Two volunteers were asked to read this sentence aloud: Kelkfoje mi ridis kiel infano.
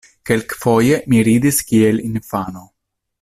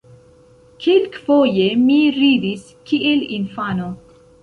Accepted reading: first